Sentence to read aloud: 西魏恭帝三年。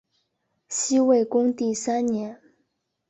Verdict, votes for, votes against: accepted, 3, 0